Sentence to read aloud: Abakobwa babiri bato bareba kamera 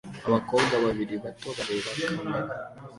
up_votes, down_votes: 2, 0